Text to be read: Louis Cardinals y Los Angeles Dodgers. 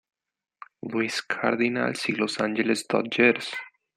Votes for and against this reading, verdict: 1, 2, rejected